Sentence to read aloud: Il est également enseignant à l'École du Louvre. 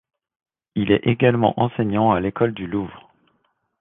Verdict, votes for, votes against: accepted, 2, 0